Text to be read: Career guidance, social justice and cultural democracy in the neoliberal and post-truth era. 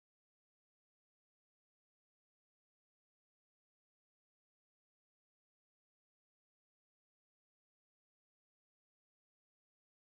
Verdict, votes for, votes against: rejected, 0, 2